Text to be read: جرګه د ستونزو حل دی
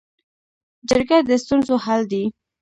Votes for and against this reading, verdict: 1, 2, rejected